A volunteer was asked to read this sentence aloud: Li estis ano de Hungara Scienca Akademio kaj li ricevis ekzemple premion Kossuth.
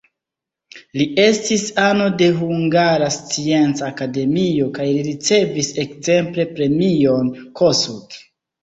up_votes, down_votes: 1, 2